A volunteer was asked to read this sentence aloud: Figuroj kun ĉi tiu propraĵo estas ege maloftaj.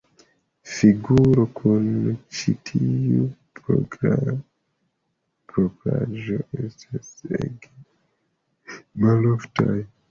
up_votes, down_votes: 0, 2